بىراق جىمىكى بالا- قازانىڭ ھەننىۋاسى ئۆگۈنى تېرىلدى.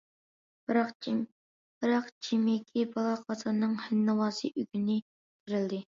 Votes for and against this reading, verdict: 0, 2, rejected